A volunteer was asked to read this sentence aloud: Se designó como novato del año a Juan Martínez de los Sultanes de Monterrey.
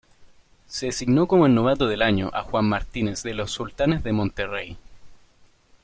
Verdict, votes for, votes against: rejected, 1, 2